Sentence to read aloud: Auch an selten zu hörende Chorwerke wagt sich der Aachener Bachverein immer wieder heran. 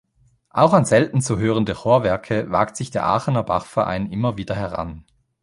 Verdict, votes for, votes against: rejected, 1, 2